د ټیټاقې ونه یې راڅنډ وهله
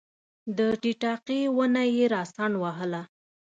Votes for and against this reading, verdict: 2, 0, accepted